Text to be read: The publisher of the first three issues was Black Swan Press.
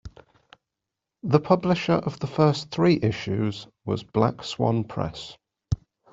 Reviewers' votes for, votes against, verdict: 3, 0, accepted